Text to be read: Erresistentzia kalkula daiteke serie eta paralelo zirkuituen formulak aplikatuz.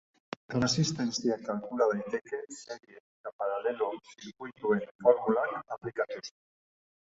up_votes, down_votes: 3, 0